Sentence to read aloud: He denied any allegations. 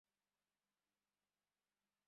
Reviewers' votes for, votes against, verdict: 0, 2, rejected